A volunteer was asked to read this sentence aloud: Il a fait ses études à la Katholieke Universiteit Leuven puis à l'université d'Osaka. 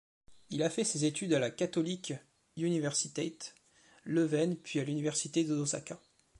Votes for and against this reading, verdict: 3, 2, accepted